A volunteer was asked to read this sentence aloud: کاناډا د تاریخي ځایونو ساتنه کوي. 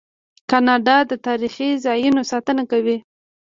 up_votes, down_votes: 2, 1